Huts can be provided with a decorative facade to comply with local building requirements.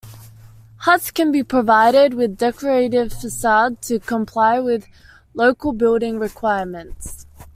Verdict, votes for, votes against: accepted, 2, 1